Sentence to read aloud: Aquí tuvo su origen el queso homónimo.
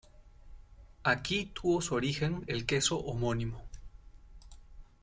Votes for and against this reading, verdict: 2, 0, accepted